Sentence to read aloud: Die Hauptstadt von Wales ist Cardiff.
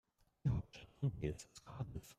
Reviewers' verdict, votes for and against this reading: rejected, 0, 2